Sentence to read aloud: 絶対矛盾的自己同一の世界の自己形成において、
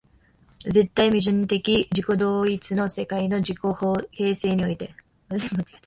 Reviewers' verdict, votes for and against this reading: rejected, 0, 2